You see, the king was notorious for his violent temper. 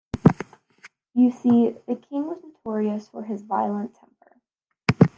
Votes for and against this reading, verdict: 0, 2, rejected